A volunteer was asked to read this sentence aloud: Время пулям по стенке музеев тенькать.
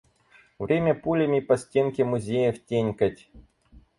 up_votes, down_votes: 2, 4